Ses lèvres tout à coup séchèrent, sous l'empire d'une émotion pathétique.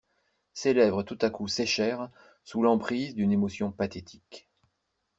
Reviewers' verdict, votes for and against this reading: rejected, 1, 2